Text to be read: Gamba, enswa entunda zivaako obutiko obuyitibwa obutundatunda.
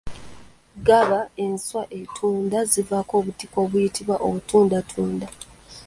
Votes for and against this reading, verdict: 0, 2, rejected